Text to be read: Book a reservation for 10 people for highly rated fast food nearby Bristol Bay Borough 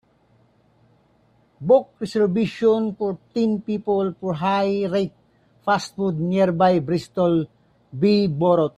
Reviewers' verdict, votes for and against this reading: rejected, 0, 2